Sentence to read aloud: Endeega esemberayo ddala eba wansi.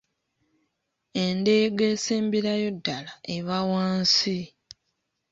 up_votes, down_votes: 2, 0